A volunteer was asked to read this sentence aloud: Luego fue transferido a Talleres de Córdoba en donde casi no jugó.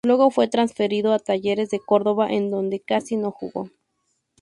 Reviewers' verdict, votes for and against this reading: accepted, 4, 0